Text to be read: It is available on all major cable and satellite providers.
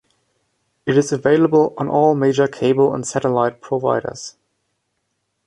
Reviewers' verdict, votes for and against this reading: accepted, 2, 1